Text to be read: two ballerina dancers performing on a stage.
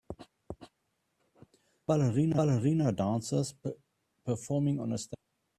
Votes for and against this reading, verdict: 0, 2, rejected